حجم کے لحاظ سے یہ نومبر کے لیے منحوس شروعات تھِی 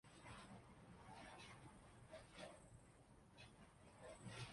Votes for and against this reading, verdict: 0, 2, rejected